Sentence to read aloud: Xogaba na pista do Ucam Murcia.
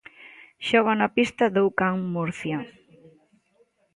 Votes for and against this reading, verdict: 0, 2, rejected